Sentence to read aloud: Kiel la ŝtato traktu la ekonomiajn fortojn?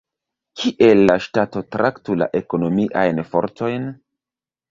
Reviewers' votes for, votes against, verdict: 2, 0, accepted